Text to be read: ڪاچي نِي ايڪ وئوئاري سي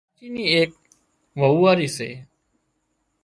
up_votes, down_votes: 0, 2